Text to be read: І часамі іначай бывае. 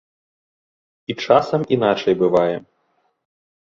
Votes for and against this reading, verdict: 0, 2, rejected